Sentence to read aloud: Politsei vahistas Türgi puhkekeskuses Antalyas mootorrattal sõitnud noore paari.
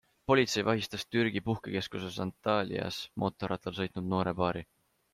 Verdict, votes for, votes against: accepted, 2, 0